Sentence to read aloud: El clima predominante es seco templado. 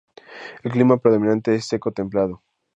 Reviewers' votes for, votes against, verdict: 4, 0, accepted